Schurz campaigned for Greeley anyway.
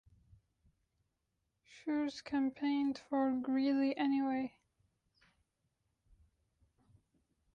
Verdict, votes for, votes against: accepted, 2, 1